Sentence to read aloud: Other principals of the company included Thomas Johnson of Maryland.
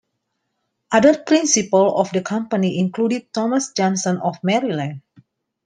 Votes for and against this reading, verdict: 2, 1, accepted